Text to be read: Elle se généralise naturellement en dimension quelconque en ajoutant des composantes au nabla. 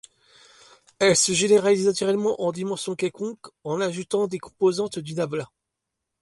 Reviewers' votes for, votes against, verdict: 0, 2, rejected